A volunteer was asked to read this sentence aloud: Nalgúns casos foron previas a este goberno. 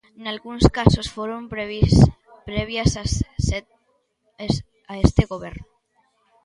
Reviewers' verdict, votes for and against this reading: rejected, 0, 2